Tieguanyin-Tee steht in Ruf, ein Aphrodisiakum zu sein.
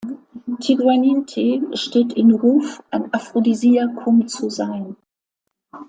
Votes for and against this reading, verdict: 2, 0, accepted